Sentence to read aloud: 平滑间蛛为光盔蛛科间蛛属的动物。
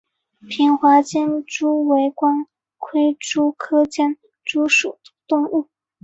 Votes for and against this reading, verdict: 2, 1, accepted